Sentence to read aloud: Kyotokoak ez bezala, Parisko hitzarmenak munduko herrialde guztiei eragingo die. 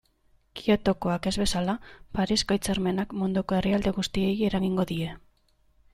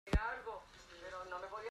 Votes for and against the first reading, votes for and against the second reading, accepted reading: 2, 0, 0, 2, first